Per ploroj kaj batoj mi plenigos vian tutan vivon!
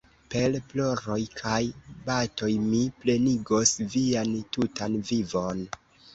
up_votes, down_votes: 1, 2